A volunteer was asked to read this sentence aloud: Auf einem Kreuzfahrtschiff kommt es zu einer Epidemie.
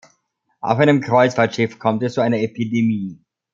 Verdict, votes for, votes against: accepted, 2, 0